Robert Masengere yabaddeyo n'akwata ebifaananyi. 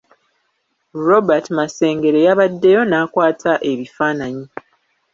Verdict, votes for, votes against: rejected, 0, 2